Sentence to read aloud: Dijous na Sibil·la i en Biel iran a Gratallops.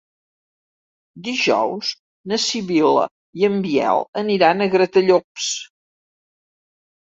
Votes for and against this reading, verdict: 0, 2, rejected